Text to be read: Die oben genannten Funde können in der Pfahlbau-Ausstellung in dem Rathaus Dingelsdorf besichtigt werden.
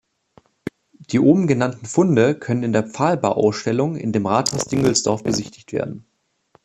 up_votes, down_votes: 2, 1